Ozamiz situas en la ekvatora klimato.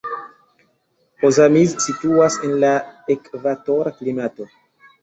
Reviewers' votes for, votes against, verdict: 2, 0, accepted